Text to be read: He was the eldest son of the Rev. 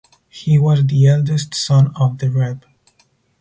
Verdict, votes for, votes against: rejected, 2, 2